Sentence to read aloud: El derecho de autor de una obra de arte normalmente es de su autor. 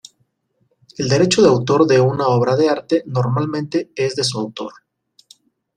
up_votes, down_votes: 2, 0